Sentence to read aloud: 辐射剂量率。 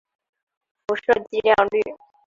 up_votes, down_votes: 2, 0